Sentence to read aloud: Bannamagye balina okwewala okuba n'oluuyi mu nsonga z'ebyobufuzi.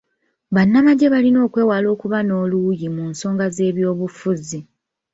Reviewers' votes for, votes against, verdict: 3, 0, accepted